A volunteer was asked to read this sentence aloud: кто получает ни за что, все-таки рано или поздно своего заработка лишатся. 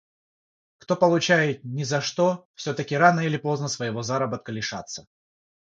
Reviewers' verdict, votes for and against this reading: rejected, 3, 3